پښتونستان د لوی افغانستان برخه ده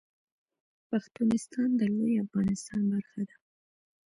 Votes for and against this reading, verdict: 1, 2, rejected